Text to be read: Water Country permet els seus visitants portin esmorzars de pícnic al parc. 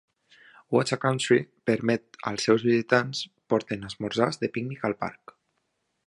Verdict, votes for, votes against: rejected, 1, 2